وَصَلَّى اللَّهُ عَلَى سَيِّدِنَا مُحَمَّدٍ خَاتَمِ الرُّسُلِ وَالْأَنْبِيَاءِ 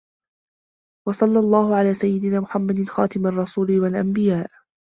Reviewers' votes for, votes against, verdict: 0, 2, rejected